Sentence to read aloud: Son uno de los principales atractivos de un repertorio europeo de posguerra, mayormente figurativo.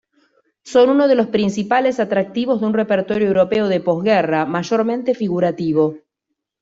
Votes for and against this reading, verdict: 1, 2, rejected